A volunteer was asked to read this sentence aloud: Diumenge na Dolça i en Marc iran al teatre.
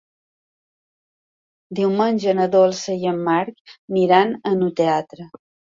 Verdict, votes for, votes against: rejected, 0, 2